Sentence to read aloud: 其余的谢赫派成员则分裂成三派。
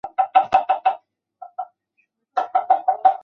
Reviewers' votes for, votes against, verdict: 4, 3, accepted